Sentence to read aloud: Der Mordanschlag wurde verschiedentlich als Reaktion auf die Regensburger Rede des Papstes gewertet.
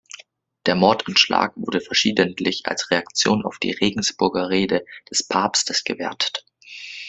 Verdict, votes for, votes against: accepted, 2, 0